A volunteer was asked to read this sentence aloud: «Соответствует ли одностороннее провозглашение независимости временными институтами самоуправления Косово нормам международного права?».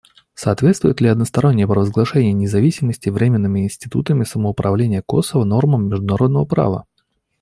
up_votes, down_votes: 2, 0